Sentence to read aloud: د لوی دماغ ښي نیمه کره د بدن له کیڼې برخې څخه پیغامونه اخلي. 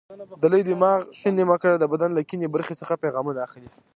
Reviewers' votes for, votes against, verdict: 1, 2, rejected